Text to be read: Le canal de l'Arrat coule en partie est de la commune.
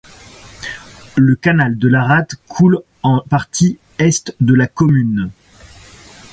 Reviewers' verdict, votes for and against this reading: accepted, 2, 1